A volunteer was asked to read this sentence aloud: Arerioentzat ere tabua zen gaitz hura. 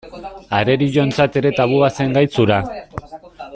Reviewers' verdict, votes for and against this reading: rejected, 1, 2